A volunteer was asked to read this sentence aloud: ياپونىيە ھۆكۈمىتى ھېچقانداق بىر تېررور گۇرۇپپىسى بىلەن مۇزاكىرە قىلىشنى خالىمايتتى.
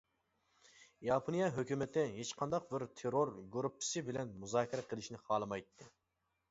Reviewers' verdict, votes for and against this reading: accepted, 2, 0